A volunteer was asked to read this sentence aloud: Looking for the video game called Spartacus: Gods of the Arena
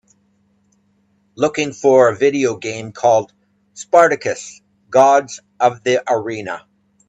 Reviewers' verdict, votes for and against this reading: rejected, 1, 2